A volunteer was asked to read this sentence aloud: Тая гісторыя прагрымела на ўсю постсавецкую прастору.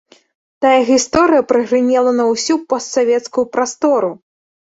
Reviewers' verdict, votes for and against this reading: accepted, 2, 0